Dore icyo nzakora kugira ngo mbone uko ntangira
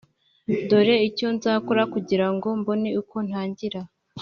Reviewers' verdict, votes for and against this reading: accepted, 2, 0